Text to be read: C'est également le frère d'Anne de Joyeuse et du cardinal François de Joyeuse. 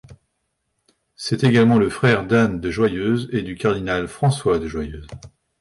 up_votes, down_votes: 2, 0